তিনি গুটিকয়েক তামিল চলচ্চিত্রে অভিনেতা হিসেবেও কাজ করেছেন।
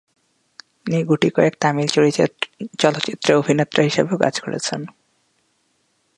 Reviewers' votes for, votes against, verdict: 0, 2, rejected